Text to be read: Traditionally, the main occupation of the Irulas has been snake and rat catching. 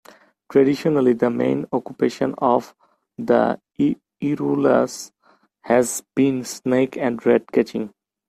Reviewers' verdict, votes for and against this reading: rejected, 1, 3